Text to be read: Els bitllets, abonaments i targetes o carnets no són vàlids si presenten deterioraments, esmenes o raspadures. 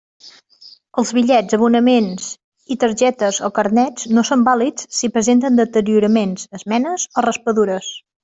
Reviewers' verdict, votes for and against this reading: accepted, 3, 0